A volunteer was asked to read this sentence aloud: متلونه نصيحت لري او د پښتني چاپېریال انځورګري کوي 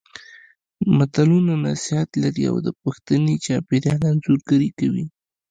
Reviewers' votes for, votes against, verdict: 1, 2, rejected